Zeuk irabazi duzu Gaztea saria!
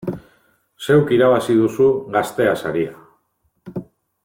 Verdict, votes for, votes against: accepted, 2, 0